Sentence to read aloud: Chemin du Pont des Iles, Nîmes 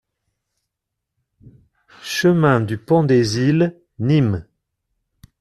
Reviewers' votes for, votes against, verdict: 2, 0, accepted